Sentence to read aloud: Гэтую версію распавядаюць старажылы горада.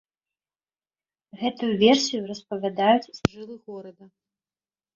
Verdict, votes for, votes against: rejected, 0, 2